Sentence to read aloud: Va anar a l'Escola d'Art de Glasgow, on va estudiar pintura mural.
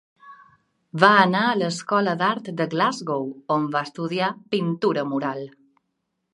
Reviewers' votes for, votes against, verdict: 2, 0, accepted